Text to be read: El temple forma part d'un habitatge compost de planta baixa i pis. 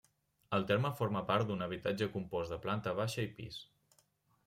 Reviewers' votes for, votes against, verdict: 1, 2, rejected